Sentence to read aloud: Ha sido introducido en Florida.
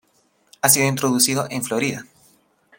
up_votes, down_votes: 2, 0